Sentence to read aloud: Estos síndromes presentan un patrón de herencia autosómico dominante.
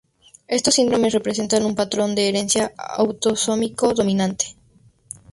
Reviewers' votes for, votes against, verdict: 0, 2, rejected